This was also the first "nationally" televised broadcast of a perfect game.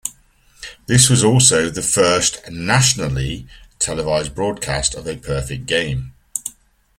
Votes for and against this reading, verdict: 2, 0, accepted